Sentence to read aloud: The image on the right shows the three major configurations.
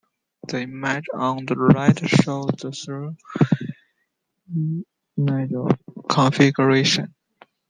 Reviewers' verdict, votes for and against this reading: rejected, 1, 2